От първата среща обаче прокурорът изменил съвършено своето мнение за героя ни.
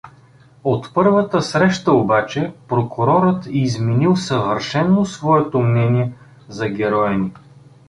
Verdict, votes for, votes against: accepted, 2, 0